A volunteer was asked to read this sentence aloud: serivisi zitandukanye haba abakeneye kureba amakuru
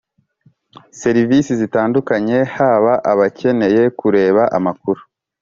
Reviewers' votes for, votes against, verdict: 4, 0, accepted